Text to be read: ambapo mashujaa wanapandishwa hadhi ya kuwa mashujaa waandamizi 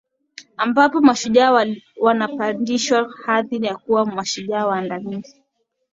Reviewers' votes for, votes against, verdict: 4, 5, rejected